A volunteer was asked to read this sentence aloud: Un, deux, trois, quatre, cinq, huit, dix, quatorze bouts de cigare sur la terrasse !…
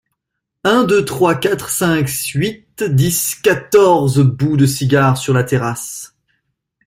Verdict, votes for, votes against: rejected, 1, 2